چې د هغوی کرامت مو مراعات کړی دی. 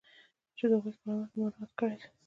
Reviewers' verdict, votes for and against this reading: accepted, 2, 1